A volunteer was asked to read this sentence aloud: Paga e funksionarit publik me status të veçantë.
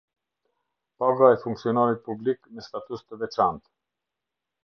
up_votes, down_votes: 2, 0